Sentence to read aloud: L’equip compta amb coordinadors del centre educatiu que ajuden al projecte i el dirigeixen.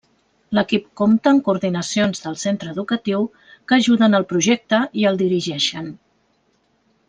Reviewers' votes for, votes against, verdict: 0, 2, rejected